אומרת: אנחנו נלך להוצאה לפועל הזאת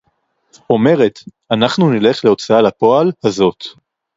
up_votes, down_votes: 4, 2